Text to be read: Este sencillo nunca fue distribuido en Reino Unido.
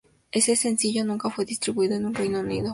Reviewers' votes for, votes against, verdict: 0, 2, rejected